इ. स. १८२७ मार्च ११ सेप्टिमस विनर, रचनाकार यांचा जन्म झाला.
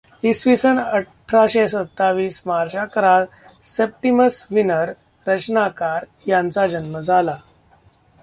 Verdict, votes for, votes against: rejected, 0, 2